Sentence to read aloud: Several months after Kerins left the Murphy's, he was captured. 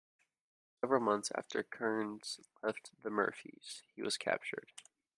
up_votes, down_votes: 0, 2